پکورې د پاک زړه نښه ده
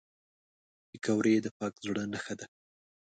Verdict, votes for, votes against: accepted, 2, 0